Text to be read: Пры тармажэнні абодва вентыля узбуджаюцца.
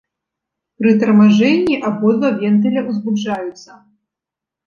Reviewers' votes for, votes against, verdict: 0, 2, rejected